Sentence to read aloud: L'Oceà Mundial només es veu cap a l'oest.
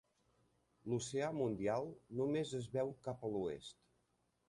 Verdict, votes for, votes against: accepted, 3, 1